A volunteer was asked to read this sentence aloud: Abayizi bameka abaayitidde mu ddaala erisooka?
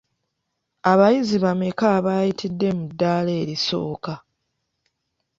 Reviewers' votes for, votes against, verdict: 2, 0, accepted